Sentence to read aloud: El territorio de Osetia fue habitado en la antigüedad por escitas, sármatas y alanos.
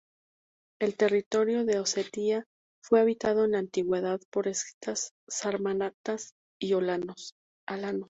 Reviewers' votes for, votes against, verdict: 0, 2, rejected